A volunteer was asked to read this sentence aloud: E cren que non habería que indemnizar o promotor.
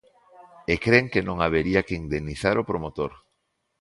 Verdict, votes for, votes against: accepted, 2, 0